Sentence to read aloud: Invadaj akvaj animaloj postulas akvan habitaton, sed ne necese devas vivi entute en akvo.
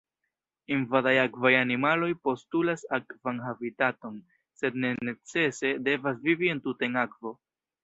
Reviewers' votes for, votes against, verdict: 1, 2, rejected